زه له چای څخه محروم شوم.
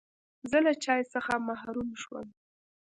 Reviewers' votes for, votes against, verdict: 2, 1, accepted